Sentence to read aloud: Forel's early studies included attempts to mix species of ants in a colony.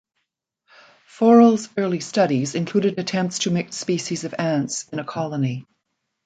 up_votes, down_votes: 2, 0